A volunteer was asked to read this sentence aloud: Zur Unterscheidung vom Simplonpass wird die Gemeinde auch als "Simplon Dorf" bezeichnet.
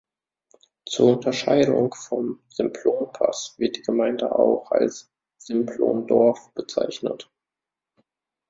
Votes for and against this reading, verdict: 2, 1, accepted